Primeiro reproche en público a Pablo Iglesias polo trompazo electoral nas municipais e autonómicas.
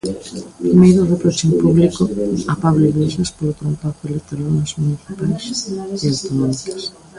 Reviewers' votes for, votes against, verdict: 0, 2, rejected